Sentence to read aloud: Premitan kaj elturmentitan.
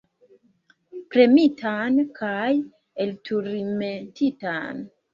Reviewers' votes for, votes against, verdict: 2, 3, rejected